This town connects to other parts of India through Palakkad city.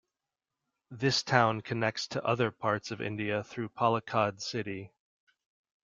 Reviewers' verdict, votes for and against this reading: accepted, 2, 0